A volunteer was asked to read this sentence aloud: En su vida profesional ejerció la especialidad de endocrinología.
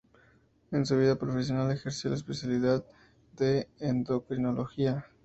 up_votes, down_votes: 4, 0